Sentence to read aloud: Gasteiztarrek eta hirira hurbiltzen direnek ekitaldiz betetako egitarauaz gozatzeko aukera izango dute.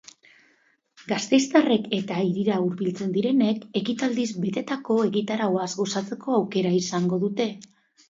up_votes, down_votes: 2, 0